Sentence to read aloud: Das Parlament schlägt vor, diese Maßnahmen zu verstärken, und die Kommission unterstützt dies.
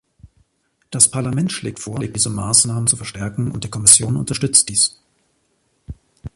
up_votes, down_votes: 0, 2